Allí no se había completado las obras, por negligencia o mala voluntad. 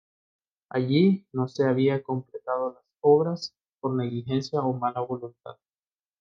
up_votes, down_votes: 1, 2